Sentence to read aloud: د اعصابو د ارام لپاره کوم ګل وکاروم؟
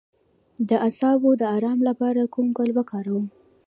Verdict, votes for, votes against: accepted, 2, 1